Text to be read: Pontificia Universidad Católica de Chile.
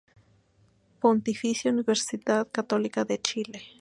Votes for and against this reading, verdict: 2, 0, accepted